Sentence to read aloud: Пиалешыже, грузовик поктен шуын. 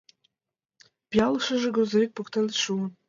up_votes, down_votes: 2, 1